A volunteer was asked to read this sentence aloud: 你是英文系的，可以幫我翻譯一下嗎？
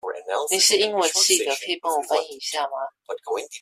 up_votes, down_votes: 2, 1